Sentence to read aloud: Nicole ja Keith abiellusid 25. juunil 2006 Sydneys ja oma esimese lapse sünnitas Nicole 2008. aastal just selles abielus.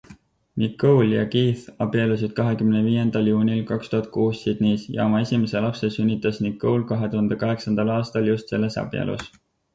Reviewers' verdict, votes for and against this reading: rejected, 0, 2